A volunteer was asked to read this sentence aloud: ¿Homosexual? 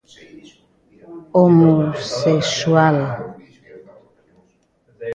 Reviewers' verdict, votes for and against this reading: rejected, 0, 2